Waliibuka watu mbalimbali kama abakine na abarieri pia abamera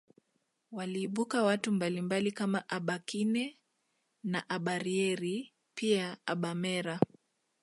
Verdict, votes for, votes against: accepted, 2, 1